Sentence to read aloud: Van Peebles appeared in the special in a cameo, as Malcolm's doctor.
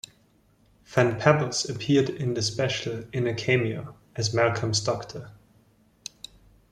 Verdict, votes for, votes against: rejected, 1, 2